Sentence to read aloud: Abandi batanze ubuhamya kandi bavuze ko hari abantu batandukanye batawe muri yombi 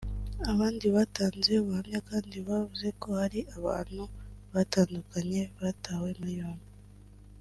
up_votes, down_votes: 2, 0